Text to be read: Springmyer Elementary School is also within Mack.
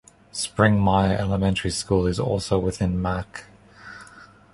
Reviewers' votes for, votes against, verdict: 2, 0, accepted